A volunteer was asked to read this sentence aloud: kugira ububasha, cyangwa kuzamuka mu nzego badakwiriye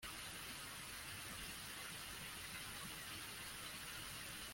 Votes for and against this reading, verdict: 0, 2, rejected